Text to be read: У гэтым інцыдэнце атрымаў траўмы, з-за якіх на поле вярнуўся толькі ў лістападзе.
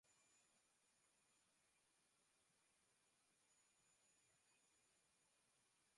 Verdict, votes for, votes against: rejected, 0, 4